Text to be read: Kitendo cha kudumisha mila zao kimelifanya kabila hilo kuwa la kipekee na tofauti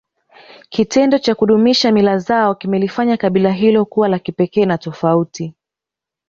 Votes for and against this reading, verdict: 1, 2, rejected